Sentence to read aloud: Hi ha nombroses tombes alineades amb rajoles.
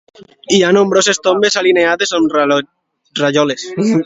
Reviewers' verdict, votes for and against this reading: rejected, 0, 2